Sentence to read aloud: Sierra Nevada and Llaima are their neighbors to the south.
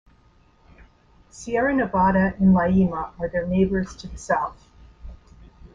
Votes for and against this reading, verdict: 2, 0, accepted